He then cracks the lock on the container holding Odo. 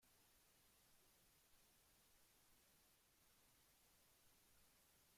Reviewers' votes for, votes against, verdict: 0, 3, rejected